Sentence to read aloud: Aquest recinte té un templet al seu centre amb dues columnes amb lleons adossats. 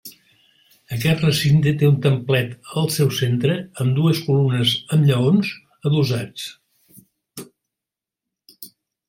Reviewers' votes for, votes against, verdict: 1, 2, rejected